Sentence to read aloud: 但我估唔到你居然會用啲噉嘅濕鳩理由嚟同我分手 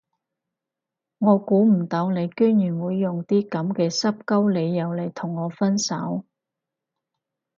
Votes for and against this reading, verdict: 2, 4, rejected